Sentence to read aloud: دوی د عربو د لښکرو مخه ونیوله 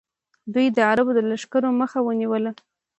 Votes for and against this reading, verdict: 2, 0, accepted